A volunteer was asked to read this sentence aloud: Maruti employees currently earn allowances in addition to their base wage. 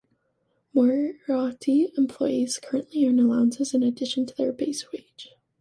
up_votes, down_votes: 2, 1